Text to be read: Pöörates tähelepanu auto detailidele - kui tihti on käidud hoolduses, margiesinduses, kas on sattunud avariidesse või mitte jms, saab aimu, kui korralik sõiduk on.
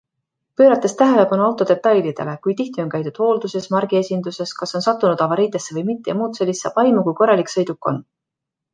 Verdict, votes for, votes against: accepted, 2, 0